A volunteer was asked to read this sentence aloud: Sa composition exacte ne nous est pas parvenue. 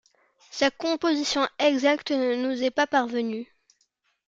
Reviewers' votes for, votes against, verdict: 2, 0, accepted